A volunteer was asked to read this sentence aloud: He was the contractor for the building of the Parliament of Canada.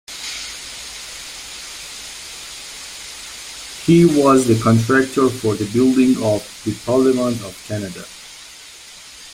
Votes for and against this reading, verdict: 2, 1, accepted